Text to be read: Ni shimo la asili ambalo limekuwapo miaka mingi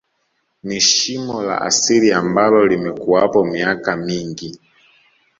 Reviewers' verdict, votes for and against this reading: accepted, 2, 0